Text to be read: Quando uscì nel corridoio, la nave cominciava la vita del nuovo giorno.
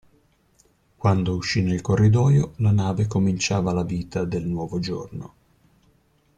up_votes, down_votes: 2, 0